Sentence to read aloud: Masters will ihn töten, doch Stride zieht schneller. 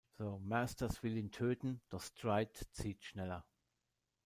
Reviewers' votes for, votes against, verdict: 1, 2, rejected